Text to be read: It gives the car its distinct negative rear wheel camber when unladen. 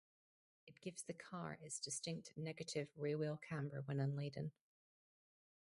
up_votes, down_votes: 2, 2